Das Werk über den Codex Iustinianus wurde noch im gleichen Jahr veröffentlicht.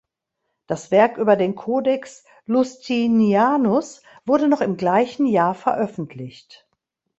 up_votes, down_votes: 1, 2